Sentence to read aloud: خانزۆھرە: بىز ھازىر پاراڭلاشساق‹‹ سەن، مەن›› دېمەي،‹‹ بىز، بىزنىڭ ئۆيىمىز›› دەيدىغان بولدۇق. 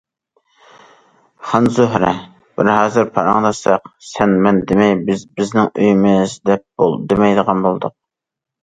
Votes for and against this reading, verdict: 0, 2, rejected